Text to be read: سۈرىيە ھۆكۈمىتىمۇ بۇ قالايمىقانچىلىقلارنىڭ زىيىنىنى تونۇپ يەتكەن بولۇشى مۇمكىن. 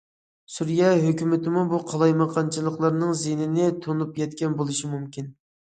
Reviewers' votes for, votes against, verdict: 2, 0, accepted